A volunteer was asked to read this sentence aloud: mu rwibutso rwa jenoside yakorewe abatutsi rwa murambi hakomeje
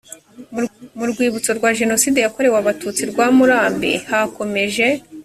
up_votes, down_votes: 1, 2